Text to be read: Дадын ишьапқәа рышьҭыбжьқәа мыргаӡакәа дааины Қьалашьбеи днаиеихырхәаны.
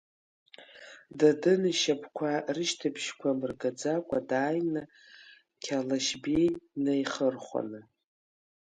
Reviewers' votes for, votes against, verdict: 2, 0, accepted